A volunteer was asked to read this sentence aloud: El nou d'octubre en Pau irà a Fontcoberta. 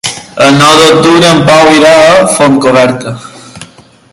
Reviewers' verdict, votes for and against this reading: rejected, 1, 2